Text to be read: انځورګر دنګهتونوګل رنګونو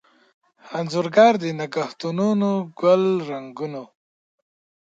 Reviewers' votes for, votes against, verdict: 3, 1, accepted